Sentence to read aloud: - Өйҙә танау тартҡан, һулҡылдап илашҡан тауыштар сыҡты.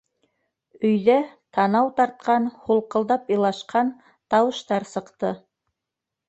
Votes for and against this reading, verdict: 2, 0, accepted